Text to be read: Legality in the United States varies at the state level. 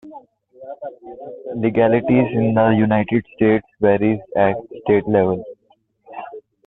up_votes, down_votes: 1, 2